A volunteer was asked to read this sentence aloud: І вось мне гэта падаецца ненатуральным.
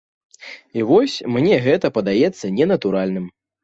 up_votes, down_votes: 2, 0